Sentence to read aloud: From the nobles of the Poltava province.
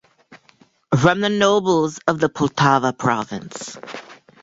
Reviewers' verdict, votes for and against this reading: accepted, 2, 0